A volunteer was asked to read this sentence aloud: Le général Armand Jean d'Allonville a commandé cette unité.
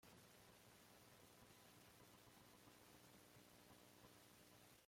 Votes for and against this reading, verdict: 0, 2, rejected